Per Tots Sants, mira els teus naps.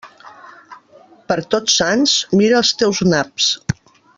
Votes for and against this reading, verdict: 3, 0, accepted